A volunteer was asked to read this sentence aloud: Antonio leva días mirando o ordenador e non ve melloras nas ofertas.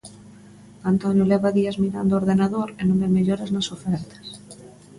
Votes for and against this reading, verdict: 2, 0, accepted